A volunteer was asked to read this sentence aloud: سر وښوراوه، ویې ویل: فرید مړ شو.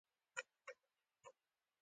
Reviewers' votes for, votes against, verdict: 2, 0, accepted